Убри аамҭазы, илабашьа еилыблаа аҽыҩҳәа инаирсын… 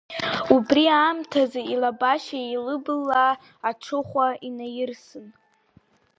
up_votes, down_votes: 1, 3